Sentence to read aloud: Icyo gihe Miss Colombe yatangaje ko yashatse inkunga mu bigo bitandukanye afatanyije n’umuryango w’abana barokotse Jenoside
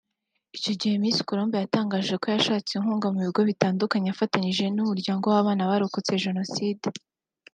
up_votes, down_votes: 1, 2